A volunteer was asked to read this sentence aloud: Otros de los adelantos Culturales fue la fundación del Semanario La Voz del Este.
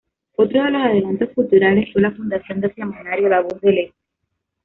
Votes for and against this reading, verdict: 2, 1, accepted